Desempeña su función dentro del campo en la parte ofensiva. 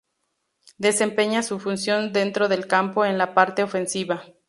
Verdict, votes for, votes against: rejected, 2, 2